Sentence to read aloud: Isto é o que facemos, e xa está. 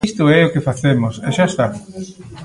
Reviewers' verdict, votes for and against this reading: rejected, 0, 2